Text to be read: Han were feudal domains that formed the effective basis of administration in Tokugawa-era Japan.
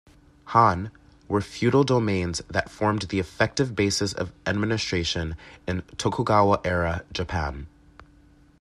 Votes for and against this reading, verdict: 2, 0, accepted